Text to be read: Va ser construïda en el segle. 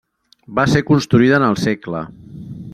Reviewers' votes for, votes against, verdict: 3, 0, accepted